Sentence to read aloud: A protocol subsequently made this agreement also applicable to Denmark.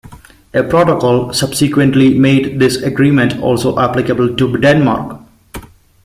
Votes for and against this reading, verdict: 2, 0, accepted